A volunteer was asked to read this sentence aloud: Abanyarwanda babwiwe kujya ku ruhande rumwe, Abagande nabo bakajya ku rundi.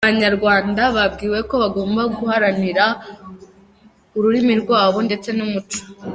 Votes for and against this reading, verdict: 0, 2, rejected